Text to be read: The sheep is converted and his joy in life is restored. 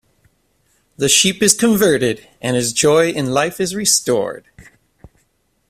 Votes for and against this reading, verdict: 2, 0, accepted